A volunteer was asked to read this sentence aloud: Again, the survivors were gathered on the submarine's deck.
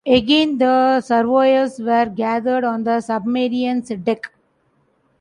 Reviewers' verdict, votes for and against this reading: rejected, 1, 2